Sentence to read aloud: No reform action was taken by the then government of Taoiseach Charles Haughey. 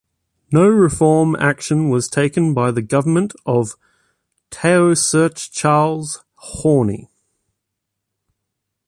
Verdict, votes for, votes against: rejected, 0, 2